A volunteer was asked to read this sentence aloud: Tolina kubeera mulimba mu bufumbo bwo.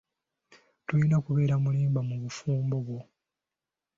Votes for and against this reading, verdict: 1, 2, rejected